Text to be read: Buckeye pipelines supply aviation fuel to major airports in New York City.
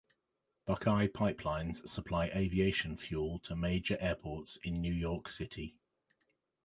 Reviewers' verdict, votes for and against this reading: accepted, 2, 0